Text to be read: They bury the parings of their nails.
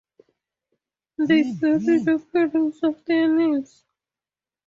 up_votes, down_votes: 0, 2